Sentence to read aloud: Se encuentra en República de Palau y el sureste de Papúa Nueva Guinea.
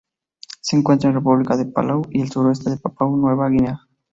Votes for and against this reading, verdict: 0, 2, rejected